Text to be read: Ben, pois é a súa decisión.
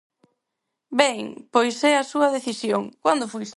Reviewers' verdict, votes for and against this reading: rejected, 0, 4